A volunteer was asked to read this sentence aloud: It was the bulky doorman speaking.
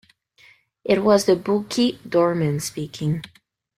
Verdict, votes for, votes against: accepted, 2, 0